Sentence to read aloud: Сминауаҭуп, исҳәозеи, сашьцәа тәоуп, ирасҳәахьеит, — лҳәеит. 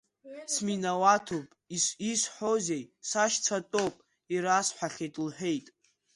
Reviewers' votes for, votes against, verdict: 1, 2, rejected